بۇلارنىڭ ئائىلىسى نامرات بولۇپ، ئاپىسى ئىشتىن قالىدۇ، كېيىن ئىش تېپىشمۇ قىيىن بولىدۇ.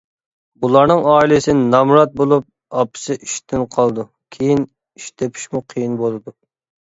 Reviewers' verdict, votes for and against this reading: accepted, 2, 0